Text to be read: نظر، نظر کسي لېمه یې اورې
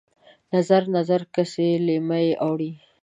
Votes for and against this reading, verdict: 2, 0, accepted